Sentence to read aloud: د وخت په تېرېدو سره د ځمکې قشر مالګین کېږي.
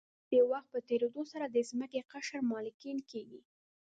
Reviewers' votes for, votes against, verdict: 1, 2, rejected